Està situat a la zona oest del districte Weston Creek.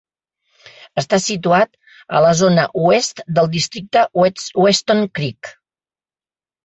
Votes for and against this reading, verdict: 1, 2, rejected